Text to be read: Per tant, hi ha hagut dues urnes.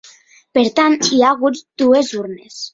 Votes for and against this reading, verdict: 4, 0, accepted